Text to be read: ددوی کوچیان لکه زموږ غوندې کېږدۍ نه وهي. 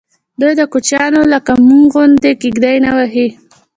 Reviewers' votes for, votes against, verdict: 2, 0, accepted